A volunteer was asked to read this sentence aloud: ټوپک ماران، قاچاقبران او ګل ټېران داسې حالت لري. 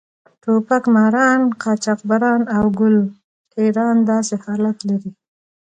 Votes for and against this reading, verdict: 2, 0, accepted